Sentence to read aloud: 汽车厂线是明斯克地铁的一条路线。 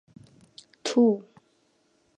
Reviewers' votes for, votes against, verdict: 4, 5, rejected